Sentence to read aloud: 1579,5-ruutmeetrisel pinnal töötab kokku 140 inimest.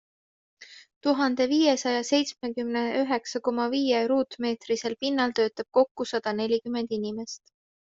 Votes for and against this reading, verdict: 0, 2, rejected